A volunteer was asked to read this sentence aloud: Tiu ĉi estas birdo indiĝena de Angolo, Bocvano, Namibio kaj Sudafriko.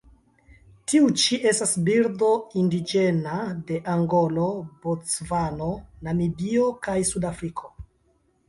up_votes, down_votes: 2, 0